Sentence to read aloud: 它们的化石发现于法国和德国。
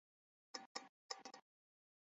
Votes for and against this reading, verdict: 1, 3, rejected